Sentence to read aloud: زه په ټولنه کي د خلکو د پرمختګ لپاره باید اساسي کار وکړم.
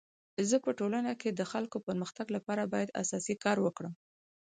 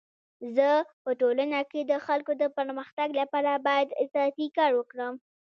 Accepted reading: first